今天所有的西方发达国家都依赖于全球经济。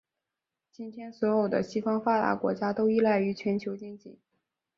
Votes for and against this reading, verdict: 1, 2, rejected